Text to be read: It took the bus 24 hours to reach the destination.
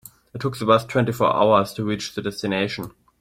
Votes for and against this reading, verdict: 0, 2, rejected